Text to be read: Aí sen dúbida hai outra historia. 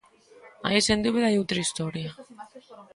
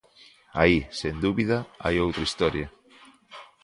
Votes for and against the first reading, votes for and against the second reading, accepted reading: 1, 2, 2, 0, second